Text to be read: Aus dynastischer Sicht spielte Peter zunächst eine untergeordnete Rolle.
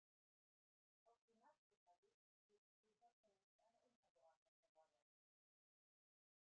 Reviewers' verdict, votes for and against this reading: rejected, 0, 2